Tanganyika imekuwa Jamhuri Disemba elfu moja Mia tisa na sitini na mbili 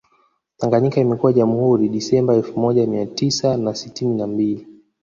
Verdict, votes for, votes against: rejected, 1, 2